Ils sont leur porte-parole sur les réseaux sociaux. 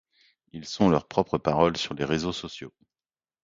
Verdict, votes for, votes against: rejected, 0, 2